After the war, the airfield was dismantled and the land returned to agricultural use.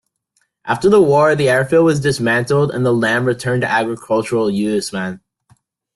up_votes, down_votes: 1, 2